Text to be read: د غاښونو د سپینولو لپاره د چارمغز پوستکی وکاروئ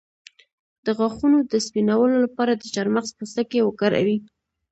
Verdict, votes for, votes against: accepted, 2, 0